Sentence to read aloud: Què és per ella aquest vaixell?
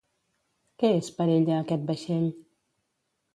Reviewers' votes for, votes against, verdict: 2, 0, accepted